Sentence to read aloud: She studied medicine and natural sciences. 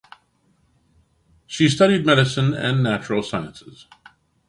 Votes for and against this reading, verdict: 2, 0, accepted